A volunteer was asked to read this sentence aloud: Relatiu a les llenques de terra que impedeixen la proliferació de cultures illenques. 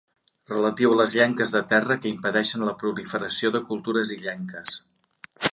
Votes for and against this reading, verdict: 2, 0, accepted